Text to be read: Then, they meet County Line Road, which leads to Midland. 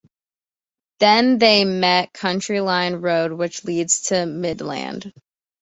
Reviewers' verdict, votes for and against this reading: rejected, 0, 2